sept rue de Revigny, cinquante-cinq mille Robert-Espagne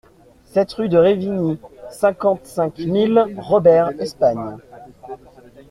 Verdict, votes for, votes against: accepted, 2, 0